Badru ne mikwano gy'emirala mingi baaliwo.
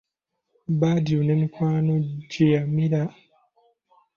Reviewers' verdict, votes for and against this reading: accepted, 2, 1